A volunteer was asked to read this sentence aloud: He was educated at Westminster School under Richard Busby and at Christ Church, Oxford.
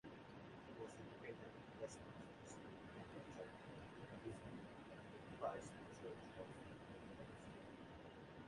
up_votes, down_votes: 0, 2